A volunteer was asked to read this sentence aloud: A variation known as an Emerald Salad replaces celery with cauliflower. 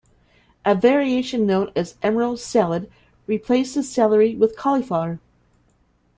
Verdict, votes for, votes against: accepted, 2, 1